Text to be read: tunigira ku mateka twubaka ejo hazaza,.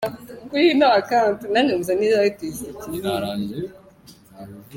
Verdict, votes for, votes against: rejected, 0, 2